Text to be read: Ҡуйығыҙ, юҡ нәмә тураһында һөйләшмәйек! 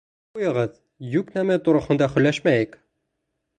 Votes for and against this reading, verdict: 2, 1, accepted